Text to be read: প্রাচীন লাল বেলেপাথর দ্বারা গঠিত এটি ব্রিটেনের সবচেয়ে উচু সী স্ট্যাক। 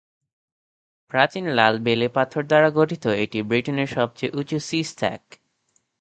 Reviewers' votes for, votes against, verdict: 2, 0, accepted